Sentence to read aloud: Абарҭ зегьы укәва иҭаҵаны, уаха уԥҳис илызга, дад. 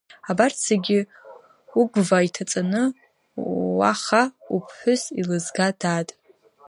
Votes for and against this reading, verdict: 1, 2, rejected